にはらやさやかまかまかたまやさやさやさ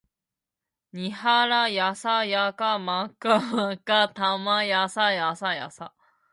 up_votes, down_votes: 2, 0